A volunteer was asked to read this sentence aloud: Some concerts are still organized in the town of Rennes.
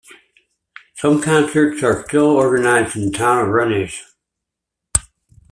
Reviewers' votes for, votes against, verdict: 0, 2, rejected